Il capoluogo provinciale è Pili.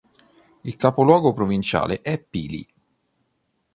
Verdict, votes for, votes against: accepted, 2, 0